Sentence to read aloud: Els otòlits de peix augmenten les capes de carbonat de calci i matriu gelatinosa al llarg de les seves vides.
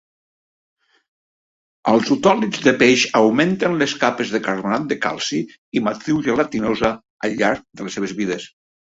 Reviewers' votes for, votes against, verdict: 2, 0, accepted